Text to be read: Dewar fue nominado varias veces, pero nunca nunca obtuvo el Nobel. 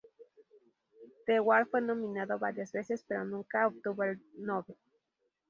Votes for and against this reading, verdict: 0, 4, rejected